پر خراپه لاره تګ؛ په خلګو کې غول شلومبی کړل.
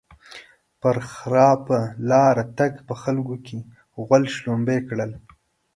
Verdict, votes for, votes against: accepted, 2, 0